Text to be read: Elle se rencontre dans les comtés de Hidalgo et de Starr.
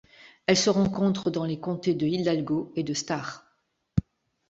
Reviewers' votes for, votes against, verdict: 2, 3, rejected